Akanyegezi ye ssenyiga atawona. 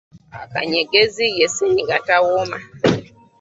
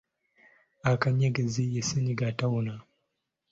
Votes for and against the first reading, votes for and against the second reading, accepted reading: 1, 2, 2, 0, second